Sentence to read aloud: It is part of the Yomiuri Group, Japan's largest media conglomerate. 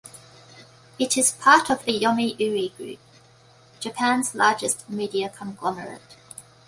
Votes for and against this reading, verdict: 2, 0, accepted